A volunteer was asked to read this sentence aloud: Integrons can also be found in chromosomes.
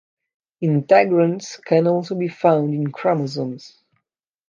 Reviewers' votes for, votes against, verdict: 2, 0, accepted